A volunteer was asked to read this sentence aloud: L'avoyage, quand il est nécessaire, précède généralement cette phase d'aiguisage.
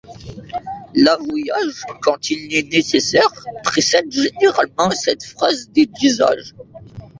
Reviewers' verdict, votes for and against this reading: rejected, 1, 2